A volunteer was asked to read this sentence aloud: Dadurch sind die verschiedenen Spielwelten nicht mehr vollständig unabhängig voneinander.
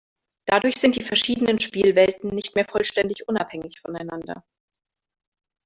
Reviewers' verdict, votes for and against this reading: rejected, 1, 2